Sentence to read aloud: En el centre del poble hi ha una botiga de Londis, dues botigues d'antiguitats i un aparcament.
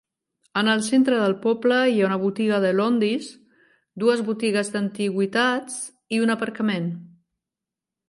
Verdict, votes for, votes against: rejected, 1, 2